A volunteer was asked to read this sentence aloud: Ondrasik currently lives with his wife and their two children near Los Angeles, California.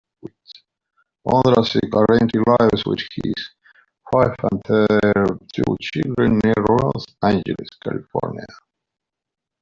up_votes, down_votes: 0, 2